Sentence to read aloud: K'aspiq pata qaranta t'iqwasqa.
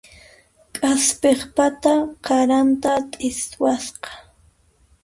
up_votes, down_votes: 1, 2